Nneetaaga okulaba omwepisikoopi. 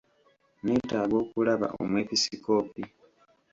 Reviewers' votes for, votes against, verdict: 2, 1, accepted